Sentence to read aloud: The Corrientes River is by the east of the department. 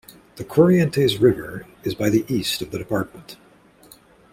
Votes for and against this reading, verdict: 2, 0, accepted